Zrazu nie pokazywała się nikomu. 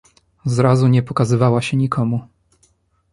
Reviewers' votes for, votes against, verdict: 2, 0, accepted